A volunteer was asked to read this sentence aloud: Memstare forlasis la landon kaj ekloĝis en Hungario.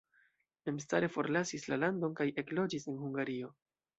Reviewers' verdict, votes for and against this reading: accepted, 2, 0